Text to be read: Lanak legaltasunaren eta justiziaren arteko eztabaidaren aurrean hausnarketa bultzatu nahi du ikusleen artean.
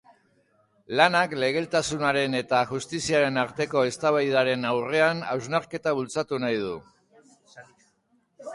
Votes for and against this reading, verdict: 2, 3, rejected